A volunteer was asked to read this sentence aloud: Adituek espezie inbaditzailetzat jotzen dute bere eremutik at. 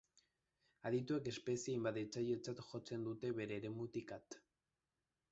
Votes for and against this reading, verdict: 1, 2, rejected